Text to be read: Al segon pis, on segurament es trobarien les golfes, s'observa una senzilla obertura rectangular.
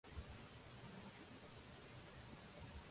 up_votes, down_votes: 0, 2